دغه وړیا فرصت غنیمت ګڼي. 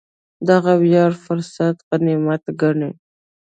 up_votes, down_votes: 1, 2